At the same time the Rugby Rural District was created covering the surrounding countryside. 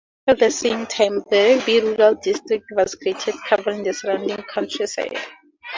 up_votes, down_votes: 0, 4